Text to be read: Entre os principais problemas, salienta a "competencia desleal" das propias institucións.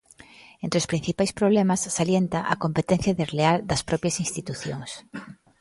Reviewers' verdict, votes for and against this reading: accepted, 2, 0